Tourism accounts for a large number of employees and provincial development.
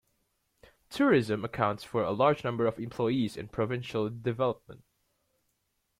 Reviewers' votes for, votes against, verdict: 2, 0, accepted